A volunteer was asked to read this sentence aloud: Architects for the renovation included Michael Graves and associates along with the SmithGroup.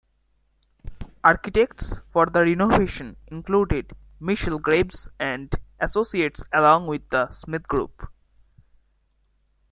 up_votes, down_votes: 1, 2